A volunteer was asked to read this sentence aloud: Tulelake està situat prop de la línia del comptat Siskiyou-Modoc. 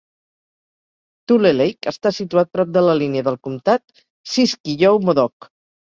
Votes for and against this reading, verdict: 2, 0, accepted